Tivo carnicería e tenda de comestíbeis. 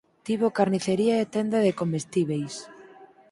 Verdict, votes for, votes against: accepted, 4, 0